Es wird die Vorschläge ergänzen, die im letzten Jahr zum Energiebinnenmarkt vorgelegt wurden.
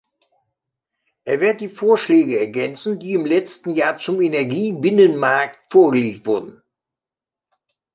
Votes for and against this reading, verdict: 3, 1, accepted